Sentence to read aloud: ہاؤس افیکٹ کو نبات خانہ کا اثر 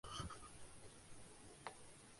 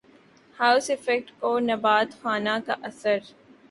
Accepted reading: second